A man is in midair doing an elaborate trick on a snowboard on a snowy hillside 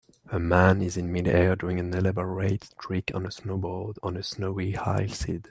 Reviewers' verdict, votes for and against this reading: rejected, 1, 2